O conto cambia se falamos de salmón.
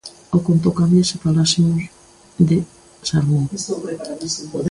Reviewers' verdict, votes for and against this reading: rejected, 0, 2